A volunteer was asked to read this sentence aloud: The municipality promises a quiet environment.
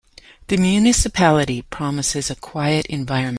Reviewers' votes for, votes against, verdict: 1, 2, rejected